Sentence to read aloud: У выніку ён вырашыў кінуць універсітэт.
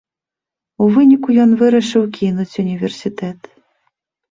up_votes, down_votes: 2, 0